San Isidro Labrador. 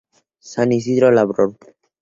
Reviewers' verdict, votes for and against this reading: accepted, 2, 0